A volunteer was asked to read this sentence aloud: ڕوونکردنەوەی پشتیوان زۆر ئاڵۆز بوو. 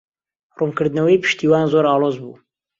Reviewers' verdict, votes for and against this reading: accepted, 2, 0